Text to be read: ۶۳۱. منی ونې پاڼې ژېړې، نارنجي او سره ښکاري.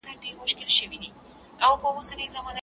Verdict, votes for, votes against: rejected, 0, 2